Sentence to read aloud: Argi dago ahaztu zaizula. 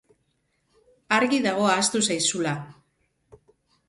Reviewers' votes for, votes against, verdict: 2, 0, accepted